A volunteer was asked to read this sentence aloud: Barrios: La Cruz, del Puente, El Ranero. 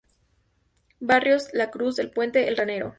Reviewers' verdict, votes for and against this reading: rejected, 0, 2